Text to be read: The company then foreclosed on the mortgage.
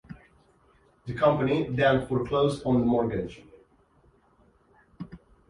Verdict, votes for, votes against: accepted, 2, 0